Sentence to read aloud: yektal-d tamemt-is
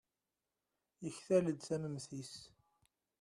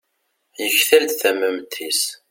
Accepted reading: second